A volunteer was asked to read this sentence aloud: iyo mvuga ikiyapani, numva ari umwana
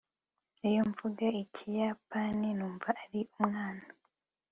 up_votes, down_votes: 3, 0